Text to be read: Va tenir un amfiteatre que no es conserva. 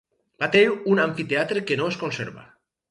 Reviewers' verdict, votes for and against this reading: rejected, 0, 2